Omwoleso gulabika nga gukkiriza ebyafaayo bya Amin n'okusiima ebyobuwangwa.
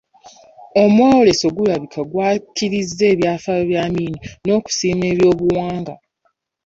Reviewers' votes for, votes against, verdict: 1, 2, rejected